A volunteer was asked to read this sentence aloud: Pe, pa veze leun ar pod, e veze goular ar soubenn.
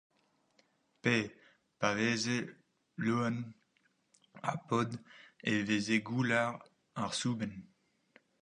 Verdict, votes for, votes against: rejected, 0, 4